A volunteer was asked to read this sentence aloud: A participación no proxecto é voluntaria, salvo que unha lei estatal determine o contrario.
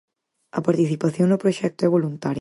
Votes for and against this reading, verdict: 0, 4, rejected